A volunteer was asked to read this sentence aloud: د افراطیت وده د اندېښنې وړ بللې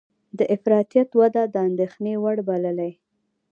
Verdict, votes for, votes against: rejected, 0, 2